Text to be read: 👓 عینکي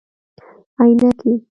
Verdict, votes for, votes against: rejected, 0, 2